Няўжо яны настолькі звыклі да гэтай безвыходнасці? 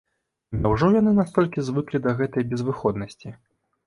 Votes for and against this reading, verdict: 2, 0, accepted